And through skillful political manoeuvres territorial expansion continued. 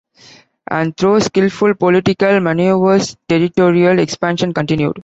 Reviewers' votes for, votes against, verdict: 3, 0, accepted